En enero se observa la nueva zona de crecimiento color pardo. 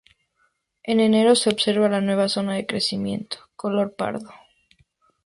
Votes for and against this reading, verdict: 2, 0, accepted